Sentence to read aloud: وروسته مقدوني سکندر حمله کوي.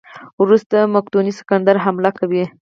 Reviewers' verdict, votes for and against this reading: rejected, 0, 4